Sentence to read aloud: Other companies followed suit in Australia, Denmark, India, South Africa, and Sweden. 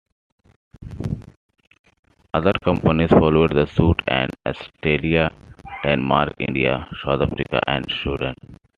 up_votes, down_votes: 1, 2